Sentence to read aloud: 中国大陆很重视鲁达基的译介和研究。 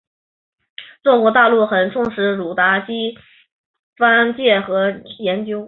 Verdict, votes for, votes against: rejected, 0, 3